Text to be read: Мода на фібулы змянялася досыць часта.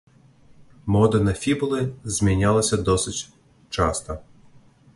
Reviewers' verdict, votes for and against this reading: accepted, 2, 0